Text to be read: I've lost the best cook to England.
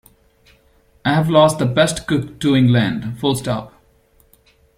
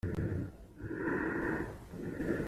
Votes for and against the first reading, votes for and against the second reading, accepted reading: 2, 1, 0, 2, first